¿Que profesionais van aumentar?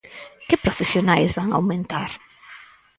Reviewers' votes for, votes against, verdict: 4, 0, accepted